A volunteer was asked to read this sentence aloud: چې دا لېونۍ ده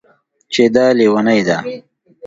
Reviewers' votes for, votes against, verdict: 2, 0, accepted